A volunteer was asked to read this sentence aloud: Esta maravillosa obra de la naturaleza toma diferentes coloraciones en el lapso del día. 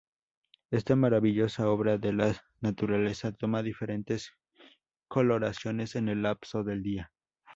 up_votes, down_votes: 2, 0